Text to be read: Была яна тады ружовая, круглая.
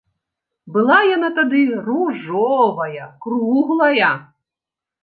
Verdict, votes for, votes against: accepted, 2, 0